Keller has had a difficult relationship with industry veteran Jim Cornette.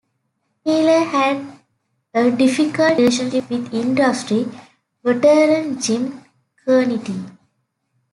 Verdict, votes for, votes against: rejected, 1, 2